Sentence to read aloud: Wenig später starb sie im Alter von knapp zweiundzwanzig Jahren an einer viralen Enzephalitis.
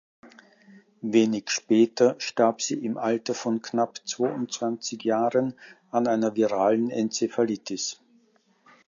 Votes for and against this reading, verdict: 2, 1, accepted